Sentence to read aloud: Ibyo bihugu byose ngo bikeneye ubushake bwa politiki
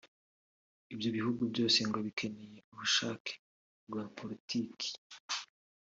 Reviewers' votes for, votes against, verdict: 2, 0, accepted